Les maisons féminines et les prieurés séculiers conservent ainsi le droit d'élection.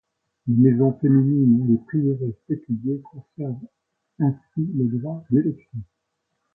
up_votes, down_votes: 2, 0